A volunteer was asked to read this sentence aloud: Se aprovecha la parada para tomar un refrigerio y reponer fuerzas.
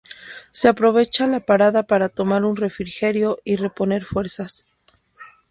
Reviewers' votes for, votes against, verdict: 2, 0, accepted